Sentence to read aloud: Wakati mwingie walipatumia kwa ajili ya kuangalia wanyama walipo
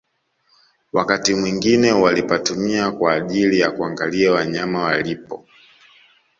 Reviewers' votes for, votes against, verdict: 2, 0, accepted